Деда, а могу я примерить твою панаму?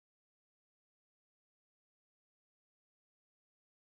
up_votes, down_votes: 0, 14